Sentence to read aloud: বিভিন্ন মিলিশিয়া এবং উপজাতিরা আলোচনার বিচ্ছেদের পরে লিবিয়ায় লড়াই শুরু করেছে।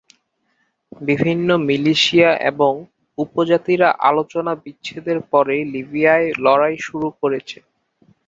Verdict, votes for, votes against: accepted, 3, 0